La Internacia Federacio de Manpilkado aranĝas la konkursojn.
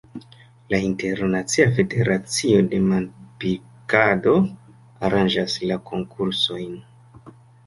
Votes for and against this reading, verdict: 3, 1, accepted